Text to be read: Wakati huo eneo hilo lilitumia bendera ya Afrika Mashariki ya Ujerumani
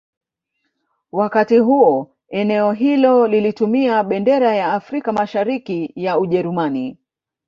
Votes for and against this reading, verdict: 1, 2, rejected